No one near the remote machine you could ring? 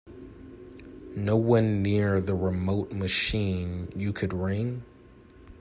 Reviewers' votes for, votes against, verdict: 3, 0, accepted